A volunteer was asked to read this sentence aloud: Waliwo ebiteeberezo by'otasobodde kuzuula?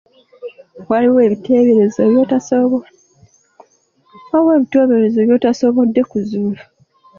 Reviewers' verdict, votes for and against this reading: accepted, 2, 0